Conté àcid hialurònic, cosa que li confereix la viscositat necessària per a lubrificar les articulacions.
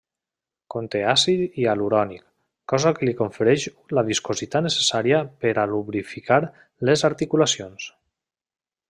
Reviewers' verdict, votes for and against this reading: rejected, 1, 2